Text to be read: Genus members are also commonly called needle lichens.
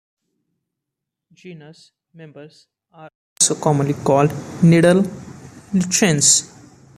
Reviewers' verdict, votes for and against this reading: rejected, 0, 2